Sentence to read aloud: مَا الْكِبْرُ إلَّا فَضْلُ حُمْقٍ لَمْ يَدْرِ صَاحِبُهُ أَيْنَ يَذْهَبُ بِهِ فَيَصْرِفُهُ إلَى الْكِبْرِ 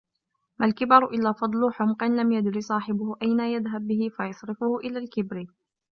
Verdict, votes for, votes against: rejected, 1, 2